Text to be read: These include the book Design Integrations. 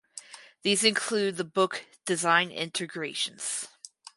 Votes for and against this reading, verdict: 4, 0, accepted